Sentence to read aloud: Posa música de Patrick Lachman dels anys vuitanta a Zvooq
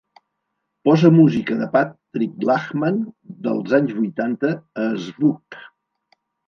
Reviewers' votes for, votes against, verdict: 4, 0, accepted